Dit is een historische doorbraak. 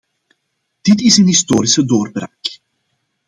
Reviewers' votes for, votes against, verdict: 2, 1, accepted